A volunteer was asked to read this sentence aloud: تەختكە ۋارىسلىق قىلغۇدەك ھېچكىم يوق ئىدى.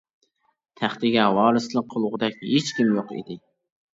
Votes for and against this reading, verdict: 1, 2, rejected